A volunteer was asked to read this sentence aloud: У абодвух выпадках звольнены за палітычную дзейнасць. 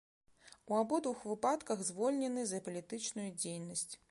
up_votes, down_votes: 2, 0